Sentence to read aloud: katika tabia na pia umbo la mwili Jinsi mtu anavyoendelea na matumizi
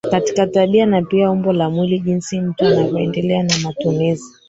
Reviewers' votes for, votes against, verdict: 1, 3, rejected